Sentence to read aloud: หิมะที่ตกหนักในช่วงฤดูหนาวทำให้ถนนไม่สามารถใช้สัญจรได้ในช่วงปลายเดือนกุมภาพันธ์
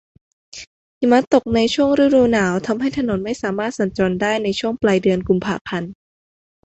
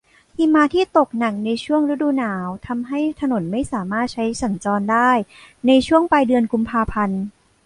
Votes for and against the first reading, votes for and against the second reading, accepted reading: 0, 2, 2, 0, second